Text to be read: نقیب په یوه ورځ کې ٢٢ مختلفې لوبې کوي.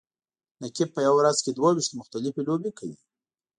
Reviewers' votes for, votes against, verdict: 0, 2, rejected